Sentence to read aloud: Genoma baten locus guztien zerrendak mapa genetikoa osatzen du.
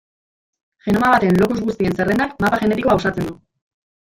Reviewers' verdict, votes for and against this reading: rejected, 0, 2